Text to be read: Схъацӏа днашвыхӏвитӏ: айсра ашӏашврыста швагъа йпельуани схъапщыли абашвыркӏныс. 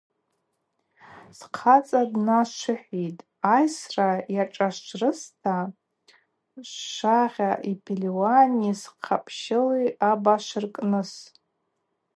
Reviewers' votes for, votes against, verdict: 0, 2, rejected